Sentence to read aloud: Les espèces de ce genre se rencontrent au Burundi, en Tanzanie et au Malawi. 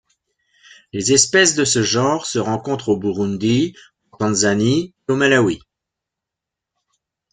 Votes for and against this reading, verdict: 1, 2, rejected